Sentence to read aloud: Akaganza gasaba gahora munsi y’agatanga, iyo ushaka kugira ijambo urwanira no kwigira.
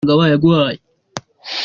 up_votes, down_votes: 0, 2